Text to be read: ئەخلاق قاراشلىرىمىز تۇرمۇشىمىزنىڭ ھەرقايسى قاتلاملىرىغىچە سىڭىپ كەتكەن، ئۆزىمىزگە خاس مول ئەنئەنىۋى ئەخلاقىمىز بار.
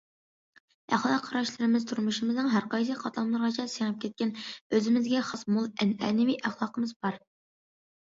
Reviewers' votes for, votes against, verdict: 2, 0, accepted